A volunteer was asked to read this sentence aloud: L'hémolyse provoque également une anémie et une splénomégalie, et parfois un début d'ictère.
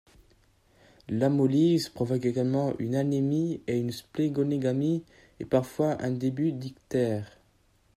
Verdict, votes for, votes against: accepted, 2, 0